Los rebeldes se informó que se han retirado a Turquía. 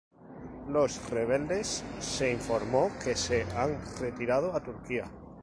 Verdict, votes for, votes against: rejected, 2, 2